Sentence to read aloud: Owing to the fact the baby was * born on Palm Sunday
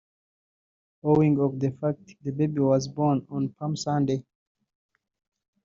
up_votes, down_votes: 1, 2